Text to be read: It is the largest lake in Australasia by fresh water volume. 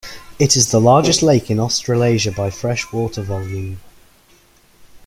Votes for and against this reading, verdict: 2, 0, accepted